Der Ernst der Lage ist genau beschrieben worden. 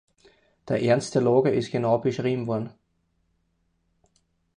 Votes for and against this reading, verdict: 2, 4, rejected